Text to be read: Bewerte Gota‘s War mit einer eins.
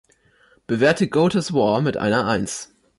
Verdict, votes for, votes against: accepted, 3, 0